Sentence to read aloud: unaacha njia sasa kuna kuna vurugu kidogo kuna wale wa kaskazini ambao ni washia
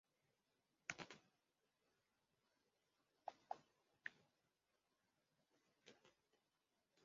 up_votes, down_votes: 0, 2